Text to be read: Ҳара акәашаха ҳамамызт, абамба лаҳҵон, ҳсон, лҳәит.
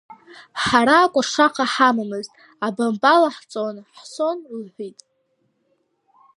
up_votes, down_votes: 2, 0